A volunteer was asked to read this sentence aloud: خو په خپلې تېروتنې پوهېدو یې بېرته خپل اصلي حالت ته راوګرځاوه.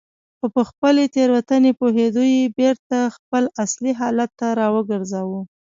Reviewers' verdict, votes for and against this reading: rejected, 0, 2